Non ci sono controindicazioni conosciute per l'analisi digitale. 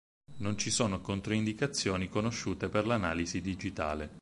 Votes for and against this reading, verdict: 4, 0, accepted